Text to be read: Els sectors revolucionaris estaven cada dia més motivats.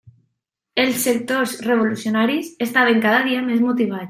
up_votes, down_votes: 1, 2